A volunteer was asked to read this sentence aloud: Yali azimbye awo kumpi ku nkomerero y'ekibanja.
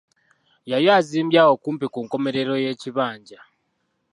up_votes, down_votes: 2, 0